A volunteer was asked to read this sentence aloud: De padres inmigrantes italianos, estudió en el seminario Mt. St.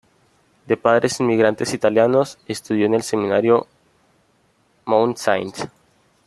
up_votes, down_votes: 2, 0